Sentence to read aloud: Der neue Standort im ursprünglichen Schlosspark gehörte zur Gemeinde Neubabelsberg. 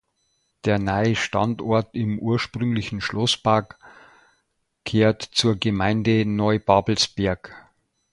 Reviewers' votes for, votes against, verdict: 0, 2, rejected